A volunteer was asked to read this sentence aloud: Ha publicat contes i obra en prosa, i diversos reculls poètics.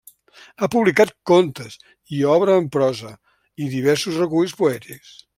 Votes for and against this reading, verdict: 0, 2, rejected